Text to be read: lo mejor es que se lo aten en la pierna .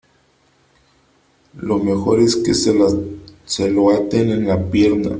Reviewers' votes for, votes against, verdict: 0, 2, rejected